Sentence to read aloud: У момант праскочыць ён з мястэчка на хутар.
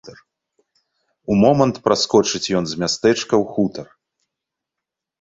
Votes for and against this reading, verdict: 1, 2, rejected